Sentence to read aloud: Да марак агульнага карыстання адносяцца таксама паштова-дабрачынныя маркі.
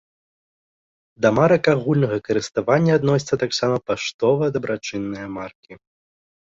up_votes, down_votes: 0, 2